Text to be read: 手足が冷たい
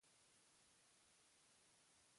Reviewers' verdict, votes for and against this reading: rejected, 0, 2